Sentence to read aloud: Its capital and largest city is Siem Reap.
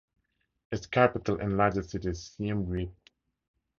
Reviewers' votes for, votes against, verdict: 2, 0, accepted